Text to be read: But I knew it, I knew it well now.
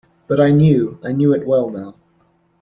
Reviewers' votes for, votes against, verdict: 1, 2, rejected